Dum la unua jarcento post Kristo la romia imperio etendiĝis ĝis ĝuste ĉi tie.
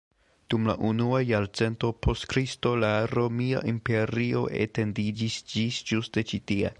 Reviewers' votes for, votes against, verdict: 2, 1, accepted